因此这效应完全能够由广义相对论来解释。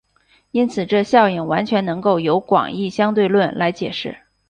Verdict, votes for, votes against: accepted, 3, 0